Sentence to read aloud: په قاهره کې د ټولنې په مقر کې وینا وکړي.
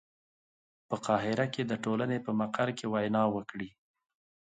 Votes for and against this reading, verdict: 2, 0, accepted